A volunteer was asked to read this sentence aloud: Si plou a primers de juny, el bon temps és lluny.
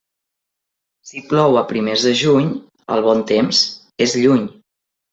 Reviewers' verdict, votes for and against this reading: accepted, 3, 0